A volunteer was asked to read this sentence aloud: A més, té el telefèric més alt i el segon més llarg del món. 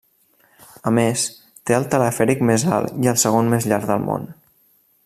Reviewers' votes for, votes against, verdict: 3, 0, accepted